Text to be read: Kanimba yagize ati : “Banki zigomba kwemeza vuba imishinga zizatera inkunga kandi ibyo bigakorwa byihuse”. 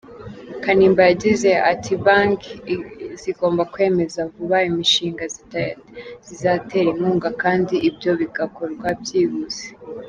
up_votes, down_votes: 0, 3